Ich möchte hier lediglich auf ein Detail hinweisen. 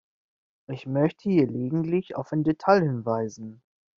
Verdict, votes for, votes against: rejected, 1, 2